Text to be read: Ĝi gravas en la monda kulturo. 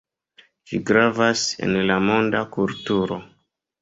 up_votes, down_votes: 2, 0